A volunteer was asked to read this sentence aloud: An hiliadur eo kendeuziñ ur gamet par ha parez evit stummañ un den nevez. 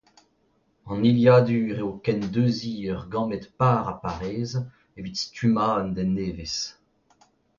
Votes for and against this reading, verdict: 2, 0, accepted